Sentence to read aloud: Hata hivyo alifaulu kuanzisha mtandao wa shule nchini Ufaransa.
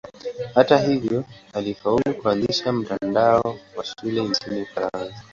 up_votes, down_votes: 2, 0